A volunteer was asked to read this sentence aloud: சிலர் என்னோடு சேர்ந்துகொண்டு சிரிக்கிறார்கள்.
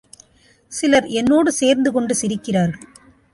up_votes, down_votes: 2, 0